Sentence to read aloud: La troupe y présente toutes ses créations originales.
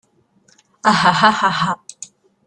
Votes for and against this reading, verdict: 0, 2, rejected